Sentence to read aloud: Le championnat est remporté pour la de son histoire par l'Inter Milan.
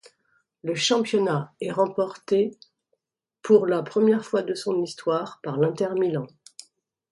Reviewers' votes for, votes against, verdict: 1, 2, rejected